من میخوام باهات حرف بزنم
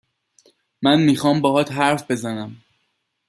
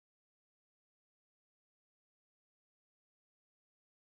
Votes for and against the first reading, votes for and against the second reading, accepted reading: 2, 0, 0, 2, first